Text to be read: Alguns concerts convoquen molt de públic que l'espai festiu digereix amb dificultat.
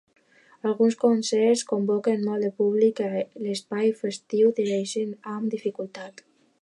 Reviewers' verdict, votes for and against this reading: rejected, 0, 2